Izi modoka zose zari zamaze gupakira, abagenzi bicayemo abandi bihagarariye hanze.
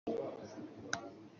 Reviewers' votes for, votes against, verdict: 0, 2, rejected